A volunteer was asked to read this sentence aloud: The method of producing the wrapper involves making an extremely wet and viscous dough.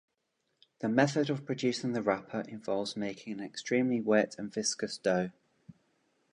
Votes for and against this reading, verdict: 2, 0, accepted